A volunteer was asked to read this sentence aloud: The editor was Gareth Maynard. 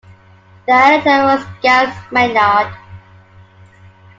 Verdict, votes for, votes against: rejected, 0, 2